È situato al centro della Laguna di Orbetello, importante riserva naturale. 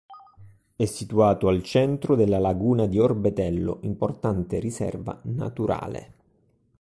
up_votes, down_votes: 2, 0